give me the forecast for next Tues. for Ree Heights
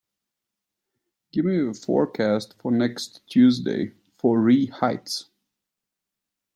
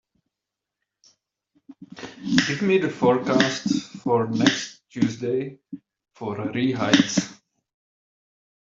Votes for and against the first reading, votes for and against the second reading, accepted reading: 1, 2, 2, 0, second